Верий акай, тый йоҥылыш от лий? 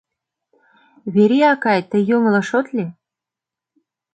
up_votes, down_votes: 2, 0